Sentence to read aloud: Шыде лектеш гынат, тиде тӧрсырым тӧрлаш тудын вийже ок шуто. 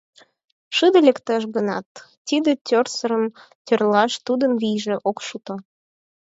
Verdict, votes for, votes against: rejected, 0, 4